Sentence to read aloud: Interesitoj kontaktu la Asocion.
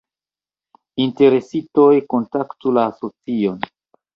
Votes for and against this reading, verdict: 1, 2, rejected